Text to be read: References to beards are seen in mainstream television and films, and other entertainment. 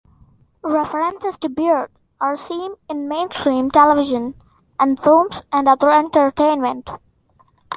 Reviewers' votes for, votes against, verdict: 2, 0, accepted